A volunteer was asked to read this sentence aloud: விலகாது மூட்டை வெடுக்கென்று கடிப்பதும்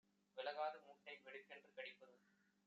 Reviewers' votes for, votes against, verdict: 2, 1, accepted